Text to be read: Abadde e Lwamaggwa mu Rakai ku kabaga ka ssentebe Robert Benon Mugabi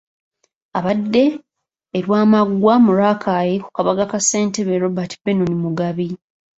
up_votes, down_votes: 2, 1